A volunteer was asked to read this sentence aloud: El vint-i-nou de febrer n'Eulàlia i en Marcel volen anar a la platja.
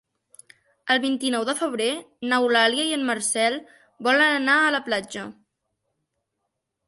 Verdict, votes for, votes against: accepted, 3, 0